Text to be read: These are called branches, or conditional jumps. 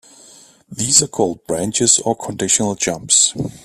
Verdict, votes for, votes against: accepted, 2, 0